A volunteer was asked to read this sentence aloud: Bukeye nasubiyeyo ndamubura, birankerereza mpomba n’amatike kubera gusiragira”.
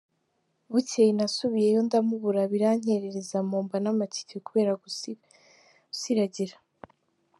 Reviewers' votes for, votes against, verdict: 0, 2, rejected